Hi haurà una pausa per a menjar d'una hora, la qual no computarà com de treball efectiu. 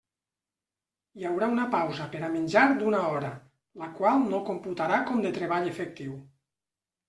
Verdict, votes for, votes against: accepted, 3, 0